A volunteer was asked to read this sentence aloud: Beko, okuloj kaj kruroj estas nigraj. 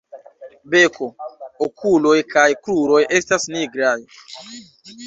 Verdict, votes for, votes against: rejected, 1, 2